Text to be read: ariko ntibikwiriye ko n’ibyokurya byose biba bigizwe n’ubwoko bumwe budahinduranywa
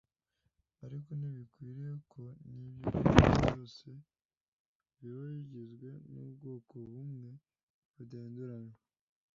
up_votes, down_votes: 1, 2